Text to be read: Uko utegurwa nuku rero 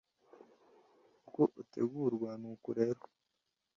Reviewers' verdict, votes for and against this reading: accepted, 2, 0